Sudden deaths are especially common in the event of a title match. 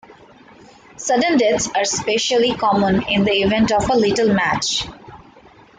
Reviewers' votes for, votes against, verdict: 2, 3, rejected